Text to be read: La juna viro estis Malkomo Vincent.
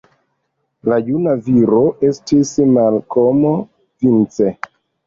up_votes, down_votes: 0, 2